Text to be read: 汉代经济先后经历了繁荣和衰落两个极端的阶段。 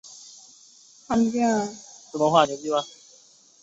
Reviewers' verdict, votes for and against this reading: rejected, 0, 3